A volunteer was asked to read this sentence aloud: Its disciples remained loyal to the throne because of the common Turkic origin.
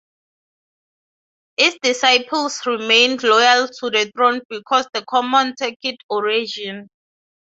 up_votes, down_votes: 0, 6